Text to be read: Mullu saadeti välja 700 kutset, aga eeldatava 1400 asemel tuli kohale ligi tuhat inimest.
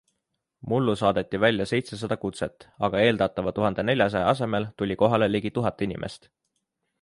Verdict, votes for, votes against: rejected, 0, 2